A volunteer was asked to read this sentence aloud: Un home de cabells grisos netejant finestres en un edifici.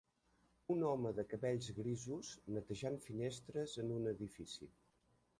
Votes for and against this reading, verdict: 1, 2, rejected